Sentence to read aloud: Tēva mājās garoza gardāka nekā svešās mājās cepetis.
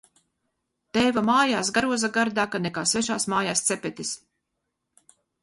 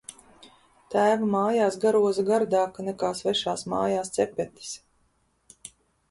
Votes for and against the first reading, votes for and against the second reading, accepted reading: 0, 2, 2, 0, second